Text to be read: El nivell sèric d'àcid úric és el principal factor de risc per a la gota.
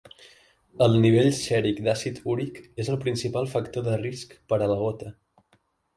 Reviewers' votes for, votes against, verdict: 2, 0, accepted